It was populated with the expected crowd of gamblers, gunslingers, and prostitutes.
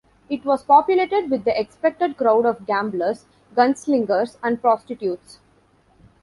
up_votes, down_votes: 2, 0